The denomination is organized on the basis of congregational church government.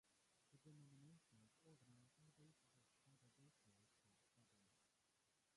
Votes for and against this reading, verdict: 0, 2, rejected